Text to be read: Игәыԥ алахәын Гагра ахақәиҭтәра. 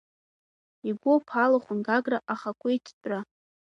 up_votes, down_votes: 2, 0